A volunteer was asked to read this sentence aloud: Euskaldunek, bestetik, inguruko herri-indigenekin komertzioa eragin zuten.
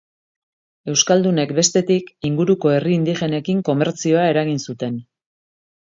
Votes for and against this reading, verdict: 3, 0, accepted